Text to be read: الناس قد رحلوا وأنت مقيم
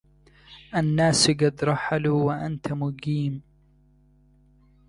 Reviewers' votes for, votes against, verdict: 0, 2, rejected